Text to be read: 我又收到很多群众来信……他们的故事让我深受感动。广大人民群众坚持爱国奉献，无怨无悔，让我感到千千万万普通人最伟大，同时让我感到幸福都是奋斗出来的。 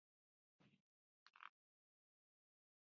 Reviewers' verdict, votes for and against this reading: rejected, 0, 3